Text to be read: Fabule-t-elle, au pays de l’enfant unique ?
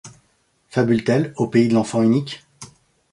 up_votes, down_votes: 2, 0